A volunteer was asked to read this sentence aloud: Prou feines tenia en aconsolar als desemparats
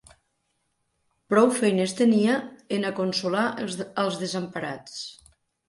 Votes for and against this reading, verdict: 0, 2, rejected